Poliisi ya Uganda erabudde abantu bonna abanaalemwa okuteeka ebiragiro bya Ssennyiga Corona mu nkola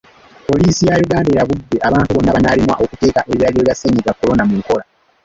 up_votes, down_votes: 1, 2